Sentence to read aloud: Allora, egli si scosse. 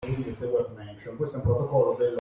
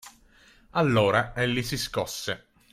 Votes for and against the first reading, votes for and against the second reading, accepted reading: 0, 2, 2, 0, second